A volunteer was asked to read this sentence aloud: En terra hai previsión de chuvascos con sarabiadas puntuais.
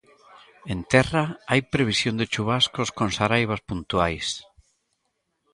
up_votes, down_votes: 0, 2